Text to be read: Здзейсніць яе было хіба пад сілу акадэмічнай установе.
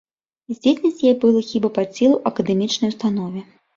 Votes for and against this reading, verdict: 0, 2, rejected